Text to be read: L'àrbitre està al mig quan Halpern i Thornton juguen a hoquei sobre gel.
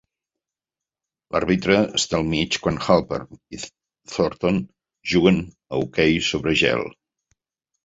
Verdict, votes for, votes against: accepted, 3, 1